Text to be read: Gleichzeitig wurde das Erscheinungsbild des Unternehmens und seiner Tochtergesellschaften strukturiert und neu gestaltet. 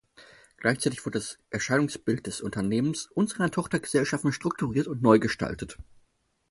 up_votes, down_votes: 6, 2